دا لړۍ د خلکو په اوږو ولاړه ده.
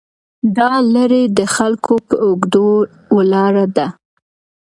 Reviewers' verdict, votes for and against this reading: accepted, 2, 0